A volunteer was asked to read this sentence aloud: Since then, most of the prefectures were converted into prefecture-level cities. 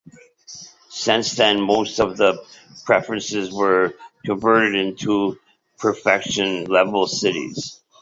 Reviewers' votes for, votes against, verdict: 0, 2, rejected